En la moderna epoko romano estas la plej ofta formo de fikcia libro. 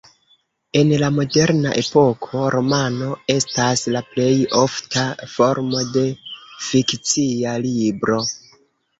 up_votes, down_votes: 1, 2